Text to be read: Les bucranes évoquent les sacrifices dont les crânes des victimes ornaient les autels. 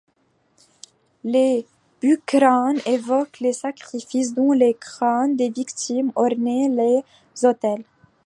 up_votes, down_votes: 2, 0